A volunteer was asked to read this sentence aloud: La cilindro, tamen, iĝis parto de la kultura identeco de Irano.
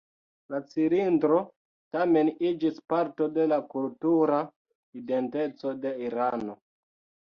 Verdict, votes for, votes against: rejected, 1, 2